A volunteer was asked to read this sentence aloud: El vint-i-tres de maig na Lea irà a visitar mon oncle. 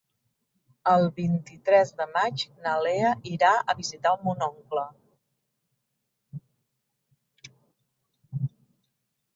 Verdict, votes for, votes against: accepted, 3, 0